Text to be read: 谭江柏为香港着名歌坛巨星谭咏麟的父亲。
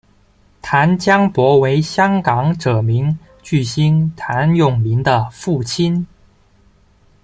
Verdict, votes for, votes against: rejected, 0, 2